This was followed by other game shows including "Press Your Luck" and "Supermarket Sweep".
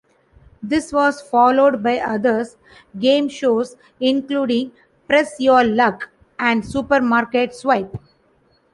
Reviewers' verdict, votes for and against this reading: rejected, 1, 2